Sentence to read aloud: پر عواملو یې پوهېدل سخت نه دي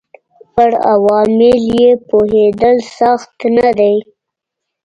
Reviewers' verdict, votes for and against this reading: rejected, 1, 2